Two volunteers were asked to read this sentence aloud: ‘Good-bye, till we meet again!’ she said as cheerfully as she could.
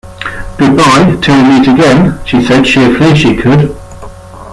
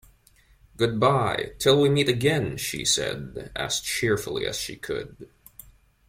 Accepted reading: second